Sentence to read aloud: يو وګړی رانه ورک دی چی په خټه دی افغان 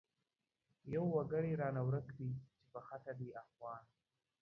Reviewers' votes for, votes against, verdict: 2, 0, accepted